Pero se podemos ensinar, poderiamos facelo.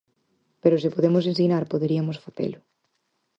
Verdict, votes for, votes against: rejected, 2, 4